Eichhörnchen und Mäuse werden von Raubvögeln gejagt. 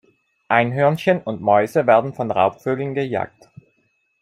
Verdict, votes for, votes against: rejected, 0, 2